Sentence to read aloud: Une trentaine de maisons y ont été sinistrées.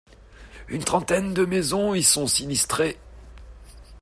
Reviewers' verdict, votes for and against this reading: rejected, 1, 2